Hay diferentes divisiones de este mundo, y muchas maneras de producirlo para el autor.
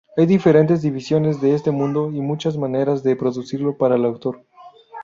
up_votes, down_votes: 0, 4